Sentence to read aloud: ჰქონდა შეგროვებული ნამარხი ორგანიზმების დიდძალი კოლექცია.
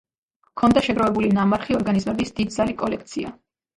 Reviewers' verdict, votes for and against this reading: rejected, 1, 2